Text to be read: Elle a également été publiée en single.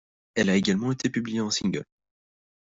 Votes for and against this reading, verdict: 2, 0, accepted